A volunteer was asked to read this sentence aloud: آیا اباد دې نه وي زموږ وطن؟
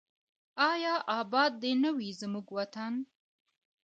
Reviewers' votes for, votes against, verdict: 2, 0, accepted